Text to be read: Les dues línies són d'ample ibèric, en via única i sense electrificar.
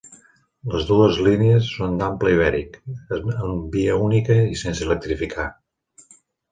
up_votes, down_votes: 0, 2